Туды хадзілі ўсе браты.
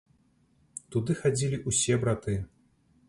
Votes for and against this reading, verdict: 1, 2, rejected